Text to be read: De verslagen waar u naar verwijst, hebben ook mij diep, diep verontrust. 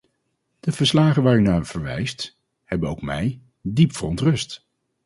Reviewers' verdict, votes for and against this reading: rejected, 0, 4